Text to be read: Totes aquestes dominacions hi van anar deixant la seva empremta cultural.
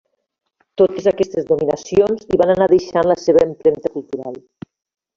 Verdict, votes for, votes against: accepted, 2, 0